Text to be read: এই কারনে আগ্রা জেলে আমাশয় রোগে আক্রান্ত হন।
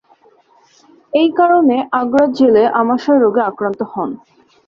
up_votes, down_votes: 2, 0